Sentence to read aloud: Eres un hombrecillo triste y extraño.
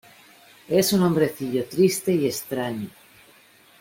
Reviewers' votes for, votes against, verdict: 0, 2, rejected